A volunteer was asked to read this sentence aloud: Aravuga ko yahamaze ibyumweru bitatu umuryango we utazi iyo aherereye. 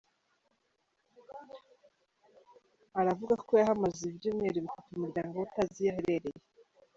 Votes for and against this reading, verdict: 3, 1, accepted